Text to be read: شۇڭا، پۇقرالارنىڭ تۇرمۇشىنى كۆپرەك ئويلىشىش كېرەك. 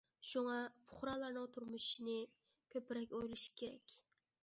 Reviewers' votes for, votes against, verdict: 1, 2, rejected